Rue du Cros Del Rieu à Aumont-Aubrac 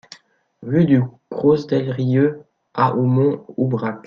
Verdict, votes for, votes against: accepted, 2, 0